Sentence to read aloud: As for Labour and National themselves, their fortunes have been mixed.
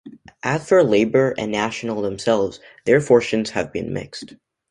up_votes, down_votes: 2, 0